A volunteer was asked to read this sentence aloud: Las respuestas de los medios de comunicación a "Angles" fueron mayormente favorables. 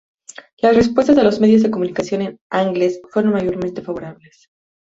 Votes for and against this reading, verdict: 0, 2, rejected